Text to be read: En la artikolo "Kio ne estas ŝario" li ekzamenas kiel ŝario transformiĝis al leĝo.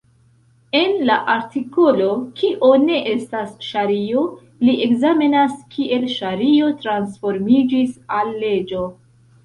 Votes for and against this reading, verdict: 2, 0, accepted